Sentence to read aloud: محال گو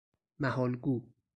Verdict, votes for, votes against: rejected, 2, 2